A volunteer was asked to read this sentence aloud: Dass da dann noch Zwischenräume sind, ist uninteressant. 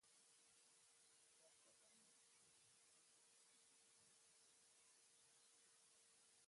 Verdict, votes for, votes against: rejected, 0, 2